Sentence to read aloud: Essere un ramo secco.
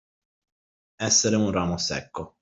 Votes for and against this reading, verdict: 2, 0, accepted